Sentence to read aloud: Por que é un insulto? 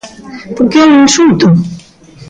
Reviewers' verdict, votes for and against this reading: rejected, 1, 2